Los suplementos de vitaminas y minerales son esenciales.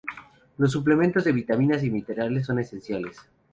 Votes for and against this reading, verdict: 2, 2, rejected